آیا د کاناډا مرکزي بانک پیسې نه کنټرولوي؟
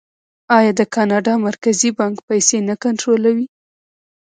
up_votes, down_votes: 2, 1